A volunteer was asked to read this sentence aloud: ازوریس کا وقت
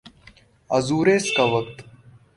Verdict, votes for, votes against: accepted, 4, 1